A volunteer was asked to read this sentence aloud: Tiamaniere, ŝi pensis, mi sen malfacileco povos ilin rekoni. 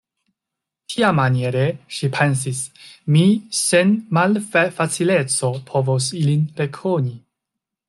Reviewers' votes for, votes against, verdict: 1, 2, rejected